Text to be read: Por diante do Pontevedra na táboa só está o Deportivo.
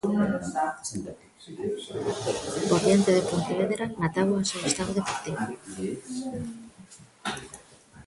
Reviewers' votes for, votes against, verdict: 0, 2, rejected